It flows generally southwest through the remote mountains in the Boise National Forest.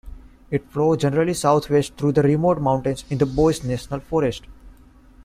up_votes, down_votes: 2, 1